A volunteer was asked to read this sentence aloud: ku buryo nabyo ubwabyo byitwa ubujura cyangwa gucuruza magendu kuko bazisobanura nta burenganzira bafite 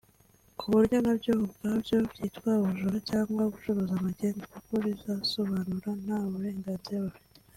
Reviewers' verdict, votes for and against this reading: accepted, 2, 0